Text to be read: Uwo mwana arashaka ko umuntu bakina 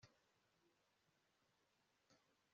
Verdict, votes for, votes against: rejected, 0, 2